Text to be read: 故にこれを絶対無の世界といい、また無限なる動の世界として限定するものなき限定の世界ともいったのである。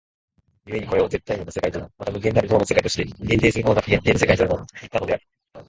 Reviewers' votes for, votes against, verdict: 0, 2, rejected